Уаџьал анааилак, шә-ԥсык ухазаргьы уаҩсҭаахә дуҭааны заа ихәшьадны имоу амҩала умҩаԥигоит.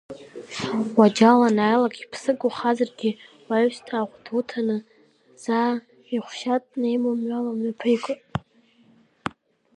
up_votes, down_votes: 0, 2